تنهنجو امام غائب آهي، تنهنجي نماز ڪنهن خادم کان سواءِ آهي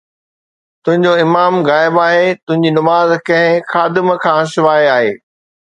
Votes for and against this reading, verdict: 2, 0, accepted